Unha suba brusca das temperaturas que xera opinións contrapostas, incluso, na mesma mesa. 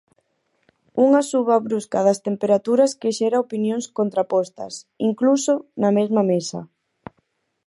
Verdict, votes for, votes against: accepted, 4, 0